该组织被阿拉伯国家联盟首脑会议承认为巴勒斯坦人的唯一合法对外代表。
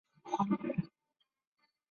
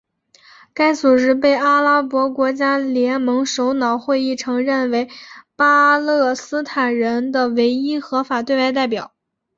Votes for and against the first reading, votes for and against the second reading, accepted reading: 0, 2, 2, 0, second